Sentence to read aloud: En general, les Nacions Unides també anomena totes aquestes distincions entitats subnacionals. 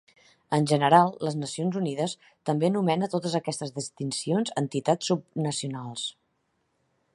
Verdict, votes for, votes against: rejected, 1, 2